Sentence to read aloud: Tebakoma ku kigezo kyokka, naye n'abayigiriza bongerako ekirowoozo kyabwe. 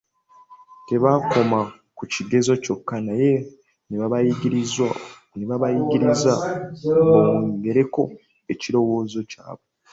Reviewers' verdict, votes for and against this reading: rejected, 0, 2